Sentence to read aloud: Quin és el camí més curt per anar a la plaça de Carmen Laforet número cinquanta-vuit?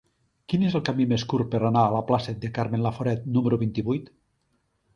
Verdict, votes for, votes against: rejected, 1, 2